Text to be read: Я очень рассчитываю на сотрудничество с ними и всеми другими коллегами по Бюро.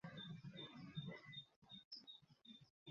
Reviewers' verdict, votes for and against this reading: rejected, 0, 2